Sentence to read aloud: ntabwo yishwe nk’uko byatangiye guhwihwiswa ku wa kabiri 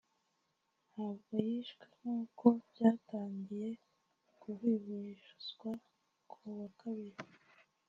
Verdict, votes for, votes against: rejected, 0, 2